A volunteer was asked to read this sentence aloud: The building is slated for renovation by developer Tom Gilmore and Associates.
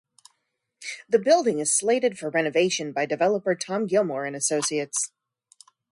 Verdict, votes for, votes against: accepted, 2, 0